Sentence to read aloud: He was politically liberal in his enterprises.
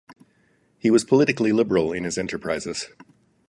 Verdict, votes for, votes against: accepted, 4, 0